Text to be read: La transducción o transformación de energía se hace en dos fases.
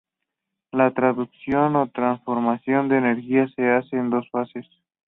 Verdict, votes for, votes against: accepted, 2, 0